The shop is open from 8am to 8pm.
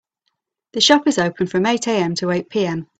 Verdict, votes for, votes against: rejected, 0, 2